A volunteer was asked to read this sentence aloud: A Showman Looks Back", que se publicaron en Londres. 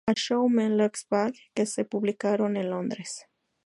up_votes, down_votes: 0, 2